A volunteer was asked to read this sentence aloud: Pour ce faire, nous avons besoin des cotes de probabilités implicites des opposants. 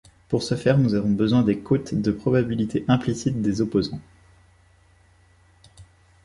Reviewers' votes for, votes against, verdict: 1, 2, rejected